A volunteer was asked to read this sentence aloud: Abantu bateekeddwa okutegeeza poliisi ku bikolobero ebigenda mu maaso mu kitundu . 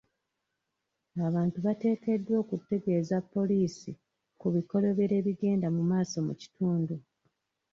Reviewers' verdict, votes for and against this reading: rejected, 1, 2